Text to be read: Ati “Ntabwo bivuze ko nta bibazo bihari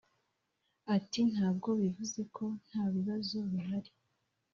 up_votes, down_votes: 1, 2